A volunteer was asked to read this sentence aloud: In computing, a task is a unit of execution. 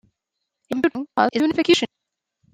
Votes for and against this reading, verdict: 0, 2, rejected